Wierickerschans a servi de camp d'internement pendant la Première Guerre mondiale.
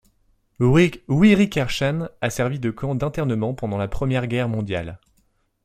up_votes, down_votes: 0, 2